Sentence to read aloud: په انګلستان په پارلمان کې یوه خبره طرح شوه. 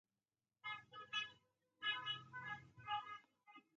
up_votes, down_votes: 0, 4